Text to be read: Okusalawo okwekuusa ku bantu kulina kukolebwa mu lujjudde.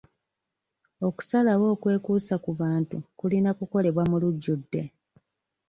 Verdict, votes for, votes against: accepted, 2, 0